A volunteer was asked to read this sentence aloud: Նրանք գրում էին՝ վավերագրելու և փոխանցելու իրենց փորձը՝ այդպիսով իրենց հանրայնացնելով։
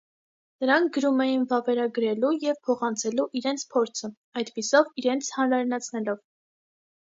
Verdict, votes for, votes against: accepted, 2, 0